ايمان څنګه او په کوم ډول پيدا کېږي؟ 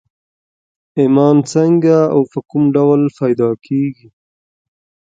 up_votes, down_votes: 2, 0